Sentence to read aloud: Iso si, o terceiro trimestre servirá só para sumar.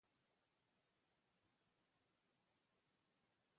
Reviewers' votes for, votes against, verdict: 0, 2, rejected